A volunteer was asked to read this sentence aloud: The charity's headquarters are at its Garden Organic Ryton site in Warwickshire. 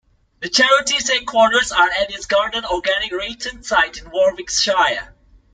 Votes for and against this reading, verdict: 2, 0, accepted